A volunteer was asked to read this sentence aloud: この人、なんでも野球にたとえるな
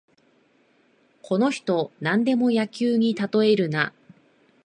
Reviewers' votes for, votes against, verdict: 6, 3, accepted